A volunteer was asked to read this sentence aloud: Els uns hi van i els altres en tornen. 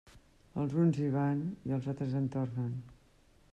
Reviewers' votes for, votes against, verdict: 3, 0, accepted